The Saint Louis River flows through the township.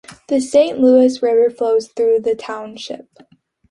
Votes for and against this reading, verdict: 2, 0, accepted